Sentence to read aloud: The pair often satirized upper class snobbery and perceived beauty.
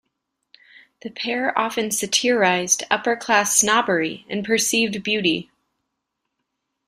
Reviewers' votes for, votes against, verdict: 2, 0, accepted